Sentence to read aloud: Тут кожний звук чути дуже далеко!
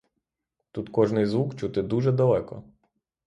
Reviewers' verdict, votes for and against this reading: rejected, 3, 3